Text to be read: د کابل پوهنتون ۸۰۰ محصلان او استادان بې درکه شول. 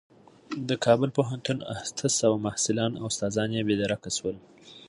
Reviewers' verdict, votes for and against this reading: rejected, 0, 2